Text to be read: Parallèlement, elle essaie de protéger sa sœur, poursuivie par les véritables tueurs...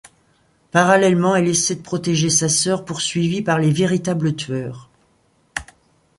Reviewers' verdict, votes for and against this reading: accepted, 2, 0